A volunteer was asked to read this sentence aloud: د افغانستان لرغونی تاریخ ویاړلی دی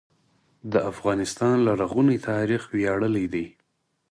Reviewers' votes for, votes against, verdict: 4, 0, accepted